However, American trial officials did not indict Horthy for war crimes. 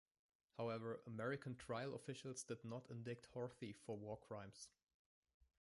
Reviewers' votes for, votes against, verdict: 2, 1, accepted